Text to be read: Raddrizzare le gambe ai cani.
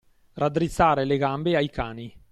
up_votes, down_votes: 2, 0